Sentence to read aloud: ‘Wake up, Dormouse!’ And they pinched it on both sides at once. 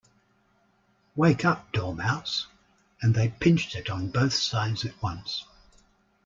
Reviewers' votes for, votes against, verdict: 2, 0, accepted